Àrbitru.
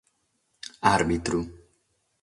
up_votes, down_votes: 6, 0